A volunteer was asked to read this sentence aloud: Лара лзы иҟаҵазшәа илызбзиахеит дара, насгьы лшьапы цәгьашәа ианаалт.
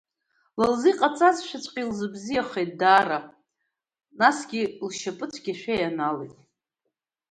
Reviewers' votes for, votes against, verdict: 1, 2, rejected